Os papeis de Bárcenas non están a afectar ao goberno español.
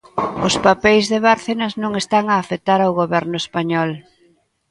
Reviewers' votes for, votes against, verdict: 2, 0, accepted